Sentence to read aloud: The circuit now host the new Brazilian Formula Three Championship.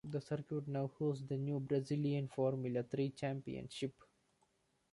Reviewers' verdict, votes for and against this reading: accepted, 2, 0